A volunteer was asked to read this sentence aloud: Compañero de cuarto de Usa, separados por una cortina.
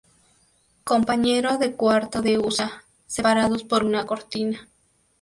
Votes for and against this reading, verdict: 2, 0, accepted